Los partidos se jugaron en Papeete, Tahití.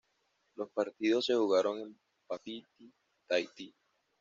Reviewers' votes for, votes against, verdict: 1, 2, rejected